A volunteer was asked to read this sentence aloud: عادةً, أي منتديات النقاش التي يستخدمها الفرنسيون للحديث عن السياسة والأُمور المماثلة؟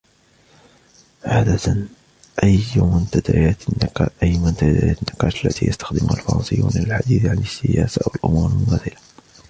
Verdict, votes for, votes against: accepted, 2, 0